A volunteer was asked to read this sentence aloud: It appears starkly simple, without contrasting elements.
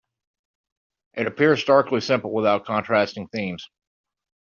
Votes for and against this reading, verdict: 0, 2, rejected